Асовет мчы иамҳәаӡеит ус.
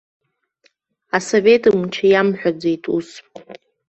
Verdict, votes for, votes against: rejected, 1, 2